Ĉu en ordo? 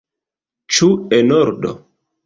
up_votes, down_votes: 2, 0